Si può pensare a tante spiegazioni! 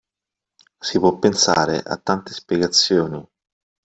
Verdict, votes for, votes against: accepted, 2, 0